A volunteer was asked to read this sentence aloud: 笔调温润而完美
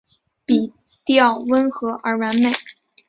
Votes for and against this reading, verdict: 2, 0, accepted